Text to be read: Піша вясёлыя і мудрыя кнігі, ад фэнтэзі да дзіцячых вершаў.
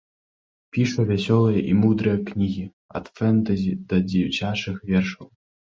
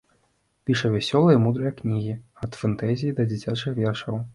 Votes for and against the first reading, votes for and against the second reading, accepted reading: 3, 0, 1, 2, first